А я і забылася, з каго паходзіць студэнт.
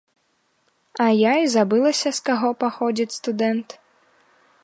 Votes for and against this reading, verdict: 2, 0, accepted